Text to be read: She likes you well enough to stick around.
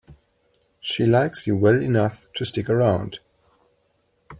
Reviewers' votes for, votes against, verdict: 2, 0, accepted